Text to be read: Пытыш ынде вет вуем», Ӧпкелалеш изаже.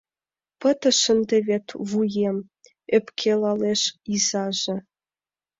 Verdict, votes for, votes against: accepted, 2, 0